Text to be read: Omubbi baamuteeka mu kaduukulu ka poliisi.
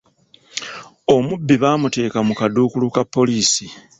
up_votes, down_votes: 2, 0